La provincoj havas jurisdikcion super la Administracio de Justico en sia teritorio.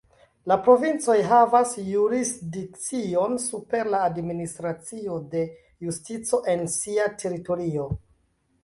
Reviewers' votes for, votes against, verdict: 0, 2, rejected